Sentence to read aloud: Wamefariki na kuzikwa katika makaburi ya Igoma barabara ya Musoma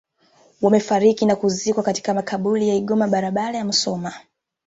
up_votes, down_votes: 2, 0